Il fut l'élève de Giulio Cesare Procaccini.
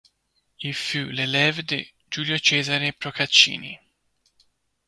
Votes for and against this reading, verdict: 2, 0, accepted